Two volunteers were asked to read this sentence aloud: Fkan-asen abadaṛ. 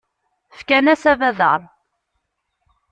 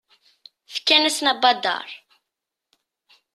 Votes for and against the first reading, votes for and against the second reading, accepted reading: 0, 2, 2, 0, second